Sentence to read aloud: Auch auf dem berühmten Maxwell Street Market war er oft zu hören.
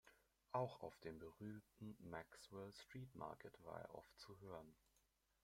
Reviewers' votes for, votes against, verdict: 2, 0, accepted